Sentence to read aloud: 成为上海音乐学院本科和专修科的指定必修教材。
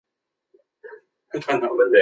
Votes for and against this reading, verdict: 0, 2, rejected